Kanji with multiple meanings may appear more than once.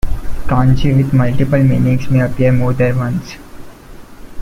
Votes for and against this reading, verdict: 1, 2, rejected